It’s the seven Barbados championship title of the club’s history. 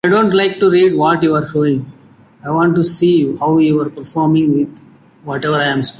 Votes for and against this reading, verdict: 0, 2, rejected